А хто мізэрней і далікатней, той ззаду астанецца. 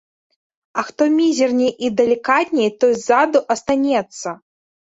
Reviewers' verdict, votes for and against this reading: rejected, 0, 2